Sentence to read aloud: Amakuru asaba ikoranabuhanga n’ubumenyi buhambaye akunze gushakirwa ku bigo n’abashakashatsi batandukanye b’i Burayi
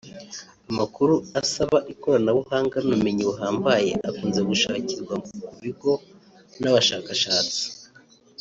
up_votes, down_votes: 0, 3